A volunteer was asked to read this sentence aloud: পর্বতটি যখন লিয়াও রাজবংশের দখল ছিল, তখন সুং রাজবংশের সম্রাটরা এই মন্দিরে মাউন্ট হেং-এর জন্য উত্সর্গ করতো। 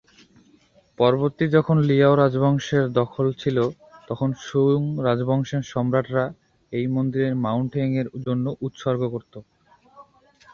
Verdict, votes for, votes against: accepted, 11, 3